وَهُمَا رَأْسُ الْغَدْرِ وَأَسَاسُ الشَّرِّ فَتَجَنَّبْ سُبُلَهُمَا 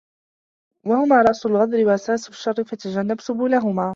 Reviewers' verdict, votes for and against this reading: accepted, 2, 0